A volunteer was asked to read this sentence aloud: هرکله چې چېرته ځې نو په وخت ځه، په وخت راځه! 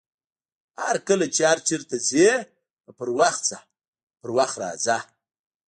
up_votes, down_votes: 0, 2